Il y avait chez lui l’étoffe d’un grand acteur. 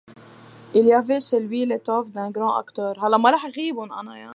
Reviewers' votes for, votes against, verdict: 0, 2, rejected